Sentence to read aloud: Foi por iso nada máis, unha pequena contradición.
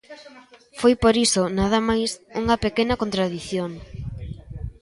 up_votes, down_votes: 0, 2